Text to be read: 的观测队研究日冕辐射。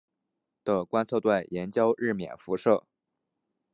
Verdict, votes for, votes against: accepted, 2, 0